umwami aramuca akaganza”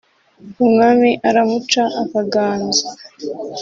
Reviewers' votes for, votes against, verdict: 2, 0, accepted